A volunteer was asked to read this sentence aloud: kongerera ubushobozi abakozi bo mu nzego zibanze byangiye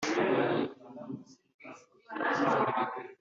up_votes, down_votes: 1, 2